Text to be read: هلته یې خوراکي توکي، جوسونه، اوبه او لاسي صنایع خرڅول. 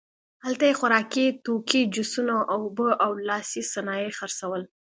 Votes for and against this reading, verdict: 2, 0, accepted